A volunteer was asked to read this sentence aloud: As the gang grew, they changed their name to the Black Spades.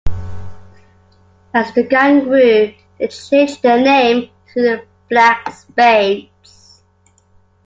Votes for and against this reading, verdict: 2, 1, accepted